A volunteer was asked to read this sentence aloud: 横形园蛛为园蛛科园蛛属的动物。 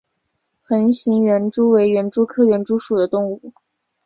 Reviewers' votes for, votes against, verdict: 2, 0, accepted